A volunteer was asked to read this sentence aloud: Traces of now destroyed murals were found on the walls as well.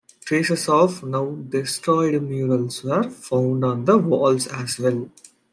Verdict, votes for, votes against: accepted, 2, 0